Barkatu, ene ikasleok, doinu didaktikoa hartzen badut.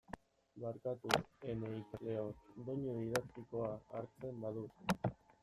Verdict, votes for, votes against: rejected, 1, 2